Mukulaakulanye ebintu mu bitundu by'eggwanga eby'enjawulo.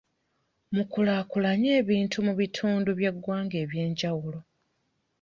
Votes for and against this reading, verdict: 2, 0, accepted